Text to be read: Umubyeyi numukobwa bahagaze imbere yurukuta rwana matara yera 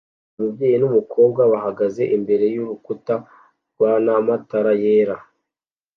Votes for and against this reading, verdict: 2, 0, accepted